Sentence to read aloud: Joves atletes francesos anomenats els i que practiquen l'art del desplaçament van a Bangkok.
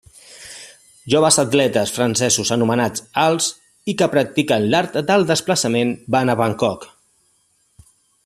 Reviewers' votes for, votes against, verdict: 2, 0, accepted